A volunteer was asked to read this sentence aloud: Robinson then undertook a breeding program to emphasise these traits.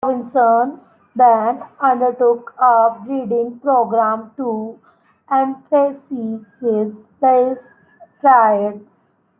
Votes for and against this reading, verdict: 0, 2, rejected